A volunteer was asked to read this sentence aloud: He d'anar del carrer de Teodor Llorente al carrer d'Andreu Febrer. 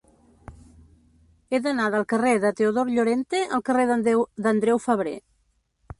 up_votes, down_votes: 0, 2